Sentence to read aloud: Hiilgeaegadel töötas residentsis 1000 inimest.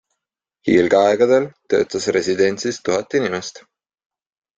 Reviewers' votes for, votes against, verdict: 0, 2, rejected